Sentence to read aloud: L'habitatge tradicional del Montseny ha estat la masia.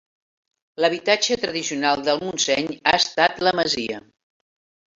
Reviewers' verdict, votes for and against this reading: accepted, 3, 0